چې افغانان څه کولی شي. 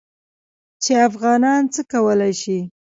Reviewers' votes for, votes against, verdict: 2, 0, accepted